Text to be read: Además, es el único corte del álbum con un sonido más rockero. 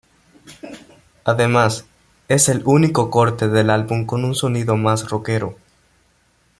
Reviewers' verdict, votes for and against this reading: accepted, 2, 1